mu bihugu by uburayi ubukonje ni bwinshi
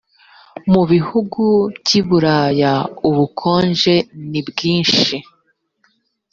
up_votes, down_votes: 0, 2